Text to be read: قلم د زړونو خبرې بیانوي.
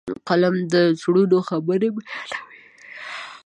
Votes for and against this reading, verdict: 0, 2, rejected